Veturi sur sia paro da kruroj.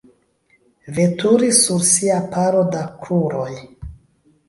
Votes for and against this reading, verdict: 1, 2, rejected